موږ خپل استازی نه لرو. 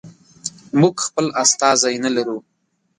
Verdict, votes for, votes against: accepted, 2, 0